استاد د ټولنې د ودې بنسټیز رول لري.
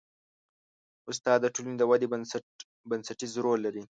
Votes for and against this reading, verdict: 2, 0, accepted